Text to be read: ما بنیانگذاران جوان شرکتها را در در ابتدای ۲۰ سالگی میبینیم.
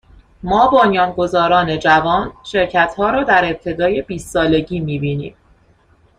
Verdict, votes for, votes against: rejected, 0, 2